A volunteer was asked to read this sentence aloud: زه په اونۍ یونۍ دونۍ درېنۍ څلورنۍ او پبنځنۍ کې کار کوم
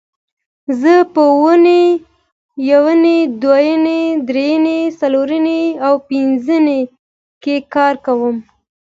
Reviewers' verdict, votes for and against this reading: accepted, 2, 0